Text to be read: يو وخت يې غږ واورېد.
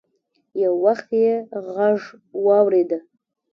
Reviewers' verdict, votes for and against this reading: rejected, 1, 2